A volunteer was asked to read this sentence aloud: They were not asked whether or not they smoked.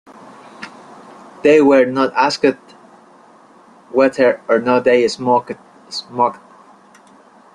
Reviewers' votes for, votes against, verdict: 2, 1, accepted